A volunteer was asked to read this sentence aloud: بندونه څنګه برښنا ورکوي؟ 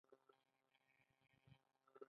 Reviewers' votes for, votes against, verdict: 0, 2, rejected